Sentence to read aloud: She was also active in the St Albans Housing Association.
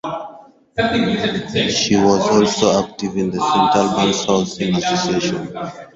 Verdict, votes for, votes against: accepted, 4, 2